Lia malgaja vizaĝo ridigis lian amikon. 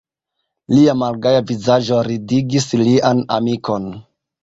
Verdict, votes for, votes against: rejected, 1, 2